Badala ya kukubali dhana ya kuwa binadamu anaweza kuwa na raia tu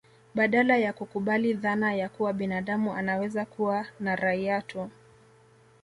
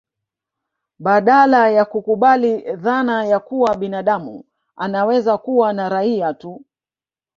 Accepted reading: first